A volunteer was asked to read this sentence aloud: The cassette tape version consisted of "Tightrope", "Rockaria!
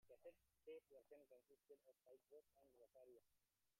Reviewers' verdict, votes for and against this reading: rejected, 0, 3